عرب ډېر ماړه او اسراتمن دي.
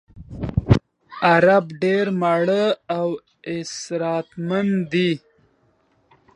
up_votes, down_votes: 2, 1